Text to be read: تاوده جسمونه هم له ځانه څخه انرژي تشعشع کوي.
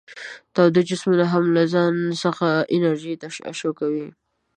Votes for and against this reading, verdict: 1, 2, rejected